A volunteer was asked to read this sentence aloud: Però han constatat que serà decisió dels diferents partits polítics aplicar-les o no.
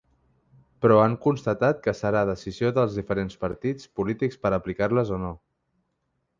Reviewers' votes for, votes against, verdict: 1, 3, rejected